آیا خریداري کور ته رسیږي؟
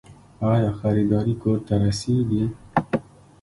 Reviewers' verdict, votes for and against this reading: accepted, 3, 0